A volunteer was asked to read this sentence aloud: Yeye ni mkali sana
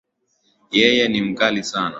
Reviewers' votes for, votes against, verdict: 2, 1, accepted